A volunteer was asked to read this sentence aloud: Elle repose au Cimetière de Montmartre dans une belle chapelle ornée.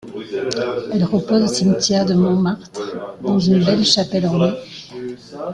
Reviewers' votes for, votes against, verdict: 2, 1, accepted